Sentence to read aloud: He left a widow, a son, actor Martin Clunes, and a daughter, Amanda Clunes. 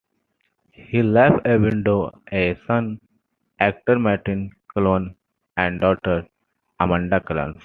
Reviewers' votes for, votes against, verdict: 2, 0, accepted